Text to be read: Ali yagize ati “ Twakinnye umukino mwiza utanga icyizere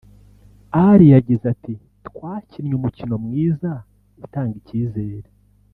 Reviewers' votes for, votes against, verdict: 2, 0, accepted